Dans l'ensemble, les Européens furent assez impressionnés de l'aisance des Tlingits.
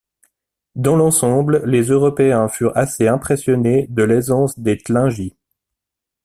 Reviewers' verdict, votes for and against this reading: accepted, 2, 0